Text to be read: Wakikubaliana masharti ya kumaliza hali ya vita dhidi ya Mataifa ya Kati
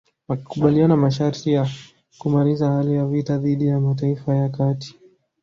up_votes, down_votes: 1, 2